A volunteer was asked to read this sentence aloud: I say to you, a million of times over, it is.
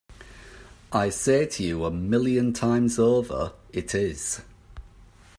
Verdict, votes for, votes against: rejected, 0, 2